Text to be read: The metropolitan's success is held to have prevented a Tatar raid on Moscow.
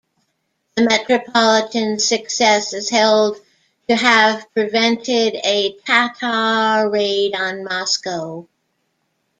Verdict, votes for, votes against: accepted, 2, 0